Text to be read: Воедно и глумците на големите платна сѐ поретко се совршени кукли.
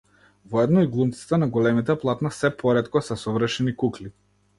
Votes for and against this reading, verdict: 2, 0, accepted